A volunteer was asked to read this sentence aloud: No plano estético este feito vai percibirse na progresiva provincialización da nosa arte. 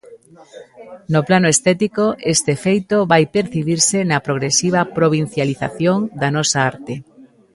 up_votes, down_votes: 1, 2